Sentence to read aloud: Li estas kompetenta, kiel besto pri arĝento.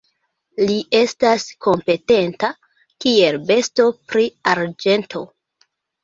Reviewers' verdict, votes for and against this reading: rejected, 0, 2